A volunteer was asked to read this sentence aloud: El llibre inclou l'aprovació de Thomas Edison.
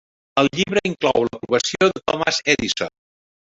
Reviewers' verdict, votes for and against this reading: rejected, 1, 2